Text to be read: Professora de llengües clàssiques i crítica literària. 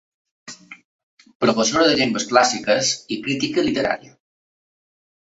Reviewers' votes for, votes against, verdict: 2, 0, accepted